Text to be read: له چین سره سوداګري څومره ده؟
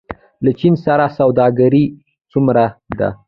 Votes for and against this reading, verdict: 0, 2, rejected